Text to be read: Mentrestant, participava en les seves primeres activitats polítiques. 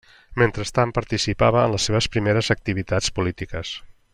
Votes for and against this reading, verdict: 3, 0, accepted